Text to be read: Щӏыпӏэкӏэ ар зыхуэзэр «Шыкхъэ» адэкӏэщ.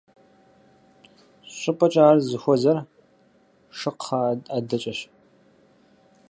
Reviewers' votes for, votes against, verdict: 2, 4, rejected